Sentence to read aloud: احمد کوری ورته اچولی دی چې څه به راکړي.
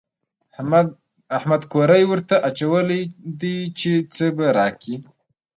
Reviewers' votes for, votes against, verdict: 0, 2, rejected